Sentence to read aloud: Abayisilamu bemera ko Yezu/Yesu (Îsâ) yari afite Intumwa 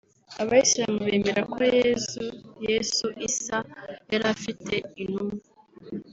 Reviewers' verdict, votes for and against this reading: rejected, 1, 2